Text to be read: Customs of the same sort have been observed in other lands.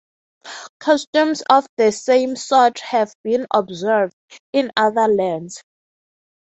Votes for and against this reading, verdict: 3, 0, accepted